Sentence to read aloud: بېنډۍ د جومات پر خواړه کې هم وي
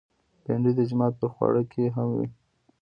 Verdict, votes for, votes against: rejected, 1, 2